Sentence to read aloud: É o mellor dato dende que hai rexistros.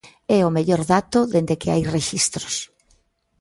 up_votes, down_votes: 2, 0